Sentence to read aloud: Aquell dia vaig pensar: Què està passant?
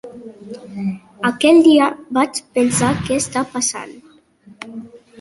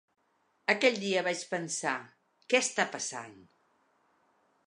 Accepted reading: second